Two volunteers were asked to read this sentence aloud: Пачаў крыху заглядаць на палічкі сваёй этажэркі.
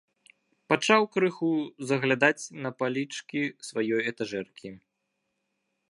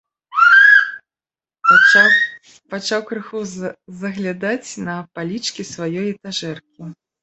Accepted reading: first